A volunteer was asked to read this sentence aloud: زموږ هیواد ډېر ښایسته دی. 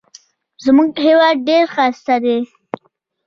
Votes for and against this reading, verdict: 1, 2, rejected